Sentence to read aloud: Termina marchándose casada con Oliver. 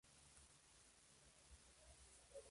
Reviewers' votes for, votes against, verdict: 0, 2, rejected